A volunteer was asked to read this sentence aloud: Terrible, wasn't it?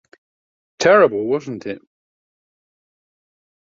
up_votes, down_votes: 2, 0